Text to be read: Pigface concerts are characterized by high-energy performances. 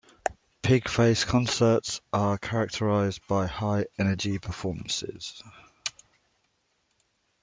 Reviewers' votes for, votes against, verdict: 2, 0, accepted